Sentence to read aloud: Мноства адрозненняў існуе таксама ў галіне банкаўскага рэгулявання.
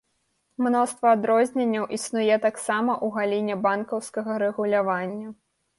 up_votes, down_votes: 1, 3